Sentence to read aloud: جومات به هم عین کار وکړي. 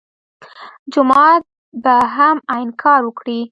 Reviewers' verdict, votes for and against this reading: accepted, 2, 0